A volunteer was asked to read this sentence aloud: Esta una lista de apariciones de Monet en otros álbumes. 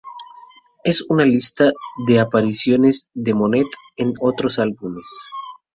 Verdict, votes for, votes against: rejected, 0, 2